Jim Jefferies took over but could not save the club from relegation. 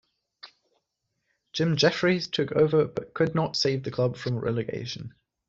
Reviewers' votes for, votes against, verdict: 2, 0, accepted